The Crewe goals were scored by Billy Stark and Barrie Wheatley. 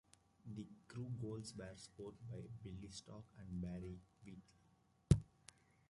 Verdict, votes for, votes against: accepted, 2, 1